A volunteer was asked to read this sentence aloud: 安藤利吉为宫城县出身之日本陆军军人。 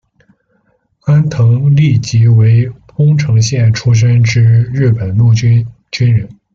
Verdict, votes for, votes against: accepted, 2, 0